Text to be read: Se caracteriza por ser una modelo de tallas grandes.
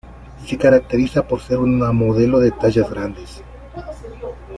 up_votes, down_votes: 2, 1